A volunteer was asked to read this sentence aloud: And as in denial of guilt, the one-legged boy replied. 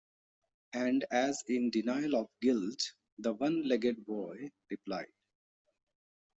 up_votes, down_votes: 2, 1